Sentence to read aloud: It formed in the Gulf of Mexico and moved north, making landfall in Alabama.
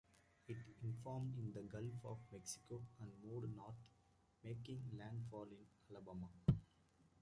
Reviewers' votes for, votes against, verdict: 0, 2, rejected